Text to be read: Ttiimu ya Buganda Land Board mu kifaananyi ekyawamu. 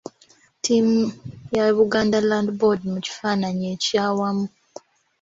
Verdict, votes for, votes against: accepted, 3, 0